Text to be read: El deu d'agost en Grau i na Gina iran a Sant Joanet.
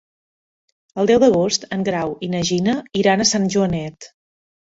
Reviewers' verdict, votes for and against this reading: accepted, 2, 1